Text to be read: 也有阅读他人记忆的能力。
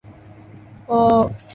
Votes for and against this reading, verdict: 0, 2, rejected